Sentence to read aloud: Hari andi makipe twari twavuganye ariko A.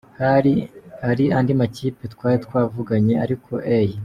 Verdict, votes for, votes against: rejected, 0, 2